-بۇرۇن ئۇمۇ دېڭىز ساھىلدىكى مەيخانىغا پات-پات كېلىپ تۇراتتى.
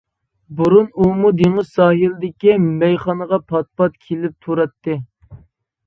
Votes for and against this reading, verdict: 2, 0, accepted